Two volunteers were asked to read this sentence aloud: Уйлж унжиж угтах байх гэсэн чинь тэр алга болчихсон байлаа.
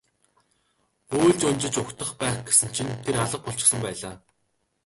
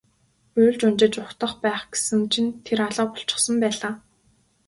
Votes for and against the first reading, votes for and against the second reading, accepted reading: 0, 2, 2, 0, second